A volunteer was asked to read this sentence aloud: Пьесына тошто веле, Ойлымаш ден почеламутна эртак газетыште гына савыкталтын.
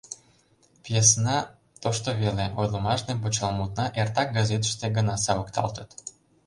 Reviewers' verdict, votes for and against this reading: rejected, 0, 2